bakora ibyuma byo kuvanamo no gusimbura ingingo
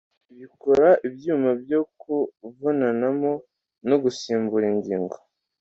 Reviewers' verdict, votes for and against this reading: rejected, 1, 2